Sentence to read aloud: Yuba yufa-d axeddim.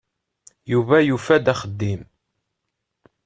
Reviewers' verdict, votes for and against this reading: accepted, 2, 0